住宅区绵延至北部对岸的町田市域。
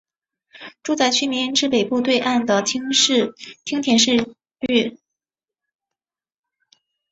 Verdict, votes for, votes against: accepted, 3, 1